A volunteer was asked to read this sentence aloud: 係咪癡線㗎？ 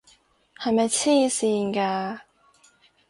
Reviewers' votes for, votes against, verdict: 4, 0, accepted